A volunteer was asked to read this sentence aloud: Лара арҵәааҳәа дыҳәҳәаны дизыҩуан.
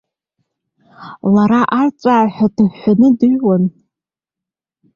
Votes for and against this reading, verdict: 1, 2, rejected